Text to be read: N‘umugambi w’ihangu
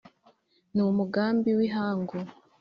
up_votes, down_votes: 2, 0